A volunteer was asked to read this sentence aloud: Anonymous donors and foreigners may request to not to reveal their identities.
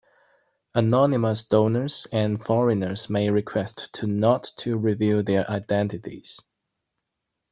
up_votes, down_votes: 2, 1